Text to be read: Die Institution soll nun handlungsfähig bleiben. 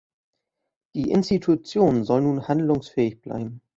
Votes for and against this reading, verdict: 2, 0, accepted